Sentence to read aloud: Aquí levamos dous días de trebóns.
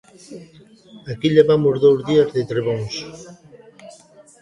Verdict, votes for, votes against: accepted, 2, 1